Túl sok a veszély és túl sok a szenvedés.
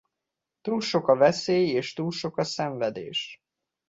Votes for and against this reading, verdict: 2, 0, accepted